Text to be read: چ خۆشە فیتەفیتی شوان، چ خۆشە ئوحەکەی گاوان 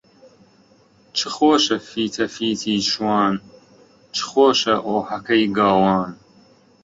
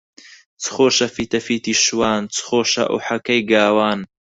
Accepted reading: second